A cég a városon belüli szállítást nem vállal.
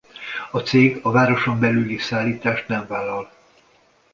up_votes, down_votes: 2, 0